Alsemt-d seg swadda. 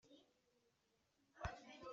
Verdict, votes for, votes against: rejected, 1, 2